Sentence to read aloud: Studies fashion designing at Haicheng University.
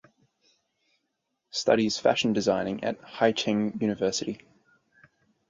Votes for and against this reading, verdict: 4, 0, accepted